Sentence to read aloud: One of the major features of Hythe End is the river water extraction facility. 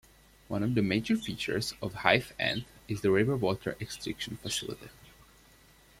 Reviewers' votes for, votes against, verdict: 0, 2, rejected